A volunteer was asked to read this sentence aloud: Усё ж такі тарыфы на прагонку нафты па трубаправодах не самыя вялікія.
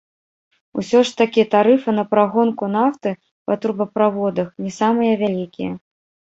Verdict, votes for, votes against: rejected, 0, 2